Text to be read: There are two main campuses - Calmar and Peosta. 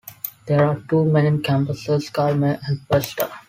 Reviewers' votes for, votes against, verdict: 2, 1, accepted